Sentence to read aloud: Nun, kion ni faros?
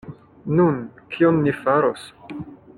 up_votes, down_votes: 2, 0